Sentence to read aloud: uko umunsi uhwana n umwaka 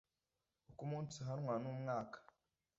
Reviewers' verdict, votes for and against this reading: accepted, 2, 1